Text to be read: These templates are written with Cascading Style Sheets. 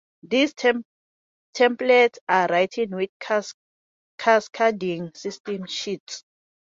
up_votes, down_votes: 0, 2